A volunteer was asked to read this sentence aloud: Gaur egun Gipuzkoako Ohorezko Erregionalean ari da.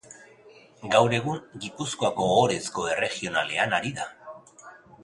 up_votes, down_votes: 0, 2